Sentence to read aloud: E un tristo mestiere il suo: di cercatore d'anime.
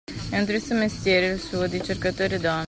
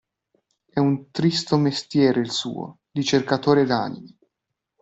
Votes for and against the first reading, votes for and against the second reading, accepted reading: 0, 2, 2, 0, second